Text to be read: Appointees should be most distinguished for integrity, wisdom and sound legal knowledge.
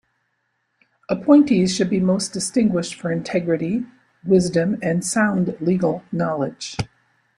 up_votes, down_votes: 2, 0